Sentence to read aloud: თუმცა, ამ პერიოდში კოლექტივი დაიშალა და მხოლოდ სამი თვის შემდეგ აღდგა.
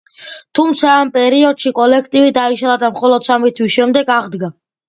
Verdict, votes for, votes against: accepted, 2, 0